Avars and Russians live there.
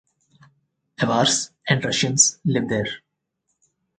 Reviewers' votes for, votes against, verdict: 2, 2, rejected